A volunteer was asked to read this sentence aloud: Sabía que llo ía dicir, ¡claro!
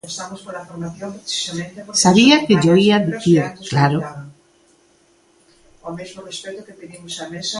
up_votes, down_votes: 0, 2